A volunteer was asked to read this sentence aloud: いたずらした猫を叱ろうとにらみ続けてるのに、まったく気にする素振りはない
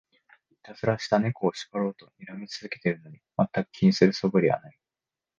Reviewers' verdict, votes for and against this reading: accepted, 2, 0